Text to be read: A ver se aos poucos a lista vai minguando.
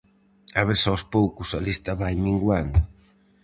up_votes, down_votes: 2, 2